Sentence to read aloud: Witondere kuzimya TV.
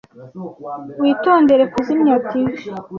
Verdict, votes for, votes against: accepted, 2, 0